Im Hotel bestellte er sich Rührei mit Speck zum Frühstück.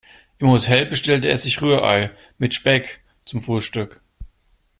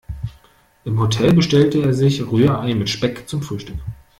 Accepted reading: first